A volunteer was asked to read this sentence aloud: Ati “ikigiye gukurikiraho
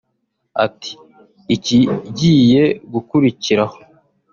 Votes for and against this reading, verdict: 2, 0, accepted